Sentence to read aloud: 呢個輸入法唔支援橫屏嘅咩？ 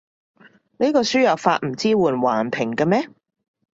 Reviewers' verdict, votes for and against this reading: accepted, 2, 0